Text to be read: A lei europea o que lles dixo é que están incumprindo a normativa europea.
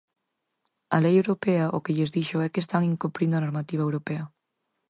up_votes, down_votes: 4, 0